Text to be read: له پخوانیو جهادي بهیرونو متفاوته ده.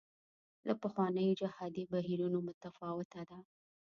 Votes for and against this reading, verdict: 2, 0, accepted